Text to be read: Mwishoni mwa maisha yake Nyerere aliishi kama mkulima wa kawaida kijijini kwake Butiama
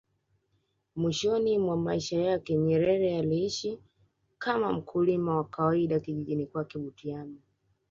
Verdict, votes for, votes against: accepted, 2, 0